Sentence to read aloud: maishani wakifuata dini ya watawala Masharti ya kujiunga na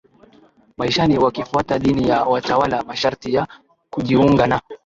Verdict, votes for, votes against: accepted, 6, 4